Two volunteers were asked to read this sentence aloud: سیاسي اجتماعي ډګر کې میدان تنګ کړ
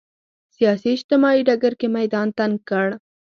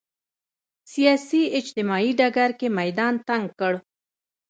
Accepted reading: first